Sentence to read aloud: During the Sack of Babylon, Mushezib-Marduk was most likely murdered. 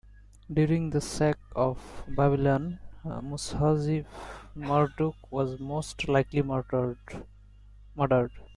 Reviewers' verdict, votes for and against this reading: rejected, 2, 3